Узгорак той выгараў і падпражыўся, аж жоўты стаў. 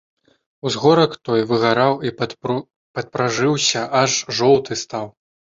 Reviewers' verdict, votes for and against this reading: rejected, 2, 3